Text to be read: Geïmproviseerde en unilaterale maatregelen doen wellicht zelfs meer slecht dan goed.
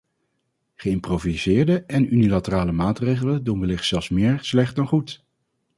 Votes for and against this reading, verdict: 4, 0, accepted